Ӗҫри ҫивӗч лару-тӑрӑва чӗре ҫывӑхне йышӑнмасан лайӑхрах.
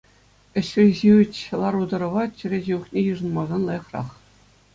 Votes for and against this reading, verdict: 2, 0, accepted